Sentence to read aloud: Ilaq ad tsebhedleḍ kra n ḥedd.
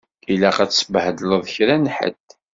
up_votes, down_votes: 2, 0